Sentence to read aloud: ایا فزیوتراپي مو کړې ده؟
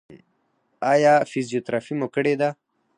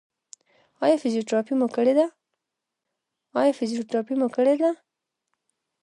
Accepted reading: second